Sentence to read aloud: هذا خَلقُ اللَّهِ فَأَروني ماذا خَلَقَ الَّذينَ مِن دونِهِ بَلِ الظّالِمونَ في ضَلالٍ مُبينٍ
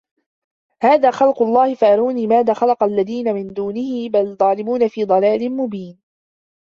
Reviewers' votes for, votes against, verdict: 2, 1, accepted